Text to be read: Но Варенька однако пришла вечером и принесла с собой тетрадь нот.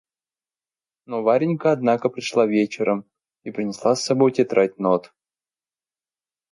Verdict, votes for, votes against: accepted, 2, 0